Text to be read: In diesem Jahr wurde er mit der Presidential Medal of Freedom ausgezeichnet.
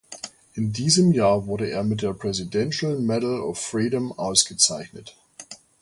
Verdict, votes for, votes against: accepted, 2, 0